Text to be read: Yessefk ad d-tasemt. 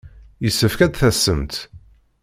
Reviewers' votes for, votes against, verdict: 2, 0, accepted